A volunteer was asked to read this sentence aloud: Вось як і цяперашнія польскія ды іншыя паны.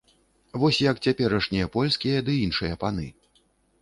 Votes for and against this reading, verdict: 0, 2, rejected